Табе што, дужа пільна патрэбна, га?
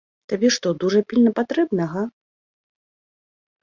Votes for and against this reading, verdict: 2, 0, accepted